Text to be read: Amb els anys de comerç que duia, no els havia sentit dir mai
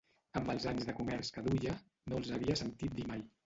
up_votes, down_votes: 2, 3